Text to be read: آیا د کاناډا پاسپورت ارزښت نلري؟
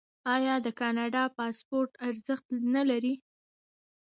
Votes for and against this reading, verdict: 1, 2, rejected